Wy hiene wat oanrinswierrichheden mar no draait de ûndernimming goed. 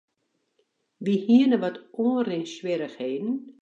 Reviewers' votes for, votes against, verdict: 0, 2, rejected